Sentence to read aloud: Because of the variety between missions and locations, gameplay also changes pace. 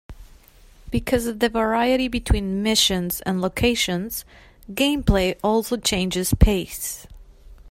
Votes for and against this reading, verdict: 2, 0, accepted